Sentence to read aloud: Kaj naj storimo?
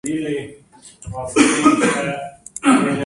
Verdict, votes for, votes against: rejected, 1, 2